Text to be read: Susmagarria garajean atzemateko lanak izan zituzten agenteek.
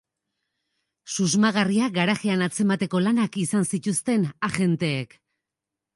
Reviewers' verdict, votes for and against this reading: accepted, 2, 0